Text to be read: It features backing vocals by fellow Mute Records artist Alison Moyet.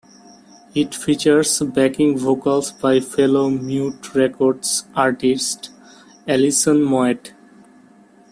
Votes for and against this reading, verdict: 2, 0, accepted